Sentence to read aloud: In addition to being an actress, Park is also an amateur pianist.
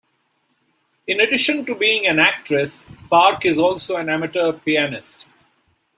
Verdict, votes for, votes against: accepted, 2, 0